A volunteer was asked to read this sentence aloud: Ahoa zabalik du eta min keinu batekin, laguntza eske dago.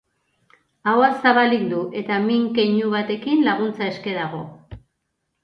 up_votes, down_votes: 3, 0